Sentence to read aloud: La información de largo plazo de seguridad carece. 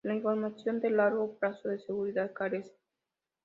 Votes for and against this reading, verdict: 2, 0, accepted